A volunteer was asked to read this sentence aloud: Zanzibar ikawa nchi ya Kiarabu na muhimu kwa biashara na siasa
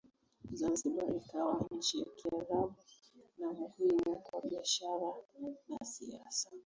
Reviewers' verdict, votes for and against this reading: rejected, 2, 3